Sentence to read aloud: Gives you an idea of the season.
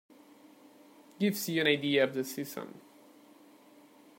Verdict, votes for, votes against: accepted, 2, 0